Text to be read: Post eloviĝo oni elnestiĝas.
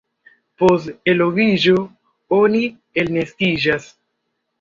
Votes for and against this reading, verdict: 1, 2, rejected